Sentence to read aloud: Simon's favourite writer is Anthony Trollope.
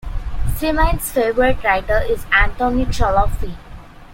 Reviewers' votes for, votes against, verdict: 1, 2, rejected